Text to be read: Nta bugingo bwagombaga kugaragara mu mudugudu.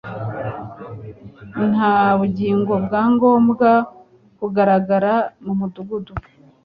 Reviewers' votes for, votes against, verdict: 0, 2, rejected